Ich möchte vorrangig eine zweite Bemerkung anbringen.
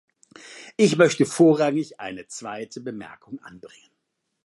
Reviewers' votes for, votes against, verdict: 2, 0, accepted